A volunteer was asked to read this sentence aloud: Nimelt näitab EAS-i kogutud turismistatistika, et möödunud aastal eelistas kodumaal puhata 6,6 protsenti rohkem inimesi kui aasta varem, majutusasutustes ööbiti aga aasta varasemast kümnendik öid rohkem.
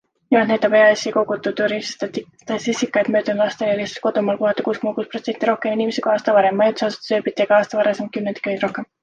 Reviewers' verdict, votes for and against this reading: rejected, 0, 2